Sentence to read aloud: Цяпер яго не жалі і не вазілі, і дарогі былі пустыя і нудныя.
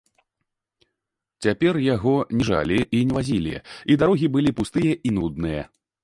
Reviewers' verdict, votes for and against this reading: rejected, 0, 2